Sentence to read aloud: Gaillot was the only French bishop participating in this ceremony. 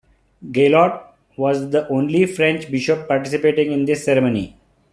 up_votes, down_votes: 1, 2